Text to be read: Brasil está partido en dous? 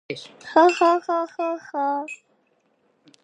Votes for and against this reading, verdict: 0, 2, rejected